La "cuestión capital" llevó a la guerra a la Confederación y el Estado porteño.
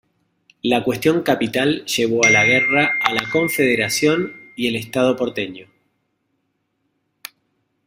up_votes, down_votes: 0, 2